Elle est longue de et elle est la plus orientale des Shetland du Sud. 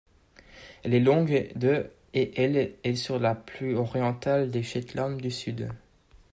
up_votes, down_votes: 1, 2